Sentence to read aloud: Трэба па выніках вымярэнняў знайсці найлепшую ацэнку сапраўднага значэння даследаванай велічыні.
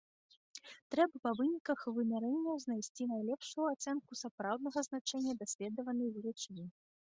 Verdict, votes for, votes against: accepted, 2, 0